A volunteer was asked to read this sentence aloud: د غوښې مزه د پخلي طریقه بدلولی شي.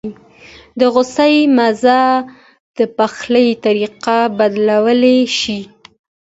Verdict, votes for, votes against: accepted, 2, 0